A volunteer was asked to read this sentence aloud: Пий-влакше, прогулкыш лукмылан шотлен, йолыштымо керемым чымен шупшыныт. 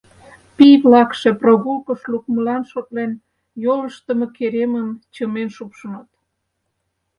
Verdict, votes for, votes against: accepted, 4, 0